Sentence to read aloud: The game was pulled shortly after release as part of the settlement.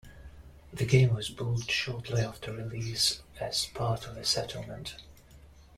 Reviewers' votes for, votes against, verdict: 2, 0, accepted